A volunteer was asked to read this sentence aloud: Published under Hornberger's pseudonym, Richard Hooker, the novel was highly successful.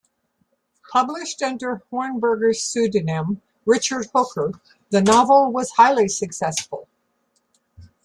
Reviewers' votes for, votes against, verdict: 2, 0, accepted